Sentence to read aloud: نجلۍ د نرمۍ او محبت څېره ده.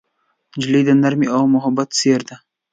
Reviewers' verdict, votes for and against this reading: accepted, 2, 1